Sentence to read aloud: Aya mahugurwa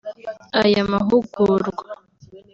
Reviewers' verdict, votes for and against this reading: accepted, 2, 0